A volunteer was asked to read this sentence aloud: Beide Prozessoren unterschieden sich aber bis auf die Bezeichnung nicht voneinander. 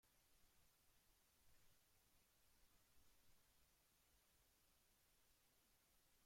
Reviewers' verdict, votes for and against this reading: rejected, 0, 2